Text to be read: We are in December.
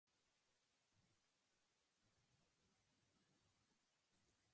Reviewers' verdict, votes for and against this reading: rejected, 0, 2